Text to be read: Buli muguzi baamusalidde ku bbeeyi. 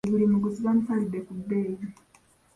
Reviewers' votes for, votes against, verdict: 2, 1, accepted